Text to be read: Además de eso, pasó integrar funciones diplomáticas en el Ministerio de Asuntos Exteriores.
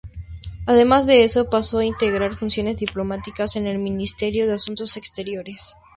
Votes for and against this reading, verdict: 4, 0, accepted